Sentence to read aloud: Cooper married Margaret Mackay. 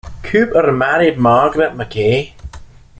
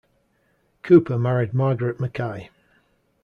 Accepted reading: second